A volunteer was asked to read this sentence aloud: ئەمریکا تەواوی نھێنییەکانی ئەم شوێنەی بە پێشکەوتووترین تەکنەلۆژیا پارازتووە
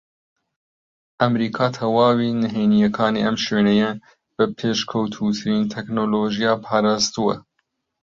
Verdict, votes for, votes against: rejected, 0, 2